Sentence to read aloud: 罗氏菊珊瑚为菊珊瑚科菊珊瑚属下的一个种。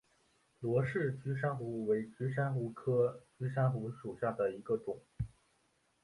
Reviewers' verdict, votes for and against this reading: accepted, 4, 0